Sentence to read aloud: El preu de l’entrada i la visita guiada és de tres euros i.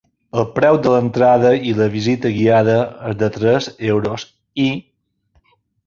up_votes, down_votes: 2, 1